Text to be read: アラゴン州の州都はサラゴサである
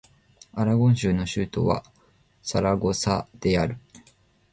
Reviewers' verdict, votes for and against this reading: accepted, 2, 1